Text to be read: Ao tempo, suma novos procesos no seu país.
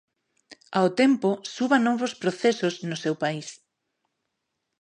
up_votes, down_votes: 1, 2